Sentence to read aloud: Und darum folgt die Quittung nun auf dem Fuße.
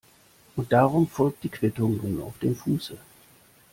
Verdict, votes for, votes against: accepted, 2, 0